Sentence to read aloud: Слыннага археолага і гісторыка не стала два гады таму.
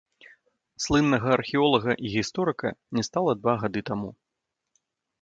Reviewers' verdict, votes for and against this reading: rejected, 0, 2